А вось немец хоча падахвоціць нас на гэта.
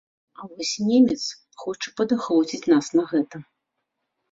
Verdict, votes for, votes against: accepted, 2, 0